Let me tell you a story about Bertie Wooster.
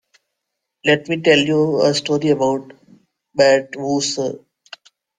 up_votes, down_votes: 0, 2